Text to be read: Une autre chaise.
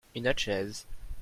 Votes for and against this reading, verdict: 2, 0, accepted